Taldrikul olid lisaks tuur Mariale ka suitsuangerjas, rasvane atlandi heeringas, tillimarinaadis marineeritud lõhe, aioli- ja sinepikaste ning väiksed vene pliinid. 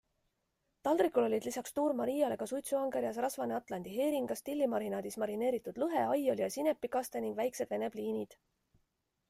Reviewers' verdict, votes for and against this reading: accepted, 2, 0